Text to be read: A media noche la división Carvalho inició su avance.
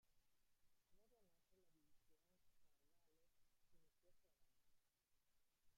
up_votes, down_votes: 0, 2